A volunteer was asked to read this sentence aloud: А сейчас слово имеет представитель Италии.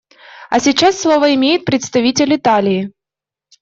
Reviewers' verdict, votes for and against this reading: accepted, 2, 0